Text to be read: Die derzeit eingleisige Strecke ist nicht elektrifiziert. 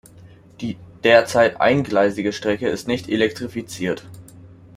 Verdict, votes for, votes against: accepted, 2, 0